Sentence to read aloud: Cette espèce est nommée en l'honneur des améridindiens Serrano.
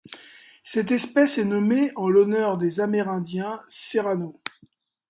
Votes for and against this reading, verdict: 2, 0, accepted